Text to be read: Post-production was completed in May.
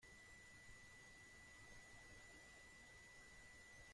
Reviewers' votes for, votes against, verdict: 0, 2, rejected